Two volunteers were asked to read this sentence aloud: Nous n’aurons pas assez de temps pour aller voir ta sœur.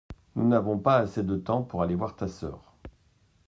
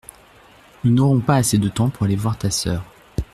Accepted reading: second